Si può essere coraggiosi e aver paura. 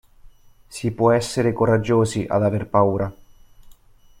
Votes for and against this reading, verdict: 0, 2, rejected